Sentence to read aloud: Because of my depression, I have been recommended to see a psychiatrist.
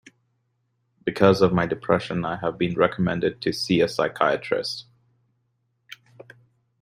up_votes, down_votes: 2, 0